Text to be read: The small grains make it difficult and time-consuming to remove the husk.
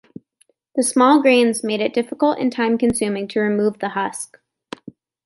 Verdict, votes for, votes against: rejected, 0, 2